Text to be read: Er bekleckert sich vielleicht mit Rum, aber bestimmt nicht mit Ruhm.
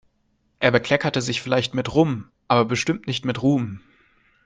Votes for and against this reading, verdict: 1, 2, rejected